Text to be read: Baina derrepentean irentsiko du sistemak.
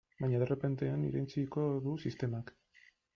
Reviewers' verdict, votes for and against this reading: rejected, 0, 2